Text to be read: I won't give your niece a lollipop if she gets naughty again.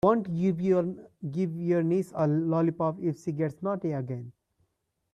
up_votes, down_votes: 0, 2